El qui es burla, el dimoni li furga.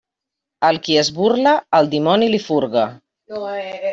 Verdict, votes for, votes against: rejected, 0, 2